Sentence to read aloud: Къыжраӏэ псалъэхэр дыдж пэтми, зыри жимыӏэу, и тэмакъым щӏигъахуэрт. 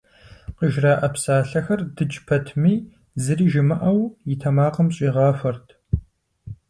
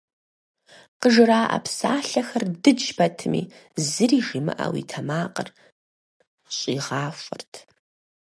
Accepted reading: first